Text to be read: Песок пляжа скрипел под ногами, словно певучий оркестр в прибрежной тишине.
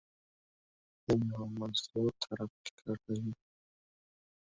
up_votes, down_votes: 0, 2